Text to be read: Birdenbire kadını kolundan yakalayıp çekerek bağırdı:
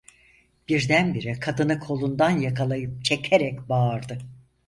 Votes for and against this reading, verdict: 4, 0, accepted